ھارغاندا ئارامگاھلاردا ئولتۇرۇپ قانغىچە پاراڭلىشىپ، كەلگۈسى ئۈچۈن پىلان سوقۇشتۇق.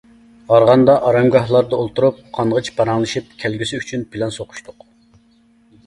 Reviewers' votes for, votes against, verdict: 2, 0, accepted